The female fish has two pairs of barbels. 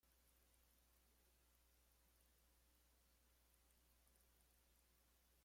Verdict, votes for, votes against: rejected, 0, 2